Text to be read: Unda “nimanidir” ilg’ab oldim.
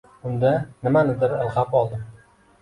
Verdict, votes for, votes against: accepted, 2, 0